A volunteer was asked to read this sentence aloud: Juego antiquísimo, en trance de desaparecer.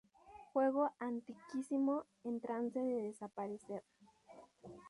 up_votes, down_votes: 4, 2